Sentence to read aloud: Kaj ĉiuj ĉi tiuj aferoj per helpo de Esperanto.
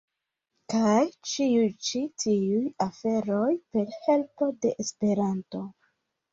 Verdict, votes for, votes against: accepted, 2, 0